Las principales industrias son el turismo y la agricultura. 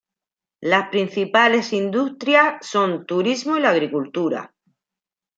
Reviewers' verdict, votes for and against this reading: rejected, 0, 2